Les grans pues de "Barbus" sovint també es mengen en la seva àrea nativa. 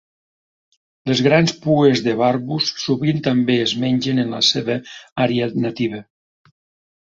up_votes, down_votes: 2, 0